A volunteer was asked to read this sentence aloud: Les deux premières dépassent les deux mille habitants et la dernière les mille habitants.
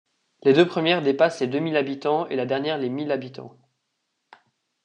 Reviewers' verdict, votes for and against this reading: accepted, 2, 0